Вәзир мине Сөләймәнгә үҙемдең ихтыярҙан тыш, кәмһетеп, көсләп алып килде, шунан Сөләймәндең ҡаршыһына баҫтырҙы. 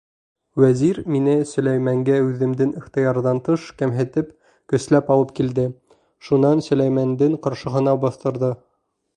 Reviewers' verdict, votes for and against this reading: accepted, 2, 0